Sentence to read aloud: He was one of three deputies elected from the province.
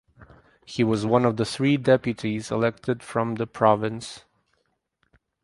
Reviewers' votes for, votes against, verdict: 4, 0, accepted